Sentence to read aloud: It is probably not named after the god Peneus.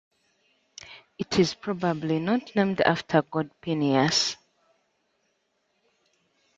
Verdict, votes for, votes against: rejected, 0, 2